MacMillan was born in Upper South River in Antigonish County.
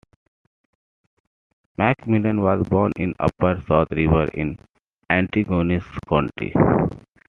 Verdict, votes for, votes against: accepted, 2, 1